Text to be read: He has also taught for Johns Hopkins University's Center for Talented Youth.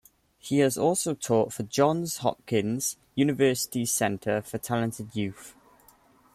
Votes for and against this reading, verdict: 2, 0, accepted